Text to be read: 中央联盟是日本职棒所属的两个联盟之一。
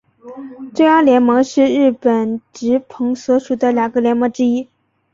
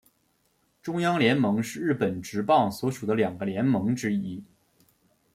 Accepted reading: second